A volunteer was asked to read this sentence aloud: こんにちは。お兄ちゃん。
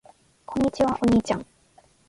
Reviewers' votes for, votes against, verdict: 2, 1, accepted